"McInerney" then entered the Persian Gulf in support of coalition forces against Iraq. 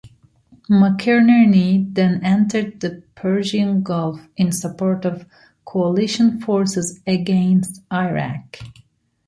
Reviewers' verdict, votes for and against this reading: accepted, 2, 0